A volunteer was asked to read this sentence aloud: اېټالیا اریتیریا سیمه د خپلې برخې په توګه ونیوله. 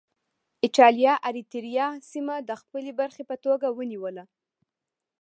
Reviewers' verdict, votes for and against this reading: accepted, 2, 0